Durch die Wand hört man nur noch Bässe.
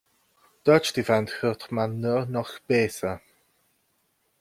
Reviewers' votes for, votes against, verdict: 0, 2, rejected